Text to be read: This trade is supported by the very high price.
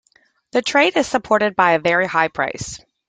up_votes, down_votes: 0, 2